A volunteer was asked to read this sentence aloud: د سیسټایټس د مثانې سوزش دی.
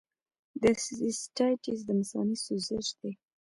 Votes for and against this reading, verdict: 0, 2, rejected